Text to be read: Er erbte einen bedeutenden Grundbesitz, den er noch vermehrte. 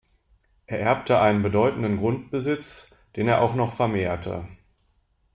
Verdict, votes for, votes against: rejected, 0, 2